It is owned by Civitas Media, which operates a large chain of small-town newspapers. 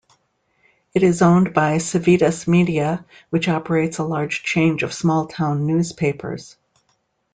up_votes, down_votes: 0, 2